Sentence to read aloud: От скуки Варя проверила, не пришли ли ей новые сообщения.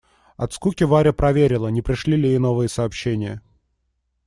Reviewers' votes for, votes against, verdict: 2, 0, accepted